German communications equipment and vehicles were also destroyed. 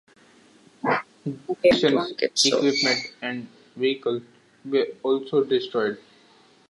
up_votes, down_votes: 0, 2